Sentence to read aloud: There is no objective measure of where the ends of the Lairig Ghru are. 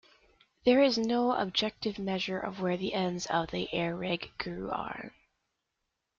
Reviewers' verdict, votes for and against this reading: rejected, 1, 2